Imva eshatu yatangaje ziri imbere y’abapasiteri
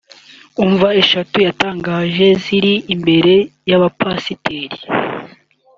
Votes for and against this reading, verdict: 0, 2, rejected